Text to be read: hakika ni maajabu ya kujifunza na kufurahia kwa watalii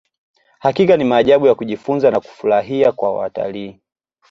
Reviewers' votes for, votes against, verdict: 2, 0, accepted